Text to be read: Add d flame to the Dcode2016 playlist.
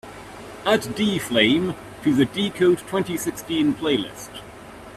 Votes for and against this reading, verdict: 0, 2, rejected